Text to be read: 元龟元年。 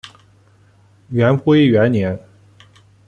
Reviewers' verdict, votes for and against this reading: accepted, 2, 0